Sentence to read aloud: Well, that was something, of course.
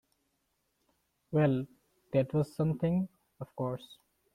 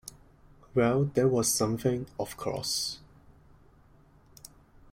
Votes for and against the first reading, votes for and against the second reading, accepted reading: 2, 0, 1, 2, first